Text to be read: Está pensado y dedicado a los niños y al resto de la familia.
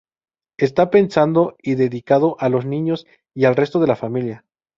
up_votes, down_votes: 0, 2